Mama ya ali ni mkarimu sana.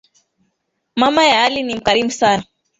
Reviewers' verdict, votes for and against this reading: accepted, 3, 1